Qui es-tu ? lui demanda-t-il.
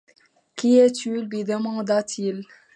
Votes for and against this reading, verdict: 2, 0, accepted